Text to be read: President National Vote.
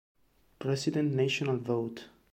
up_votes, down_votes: 2, 1